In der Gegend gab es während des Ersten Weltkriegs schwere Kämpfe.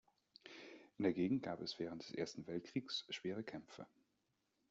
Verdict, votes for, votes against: rejected, 0, 2